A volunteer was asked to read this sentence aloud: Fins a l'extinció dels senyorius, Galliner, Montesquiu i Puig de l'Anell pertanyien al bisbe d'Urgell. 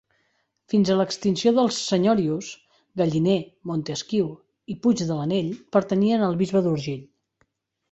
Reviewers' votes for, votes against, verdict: 0, 2, rejected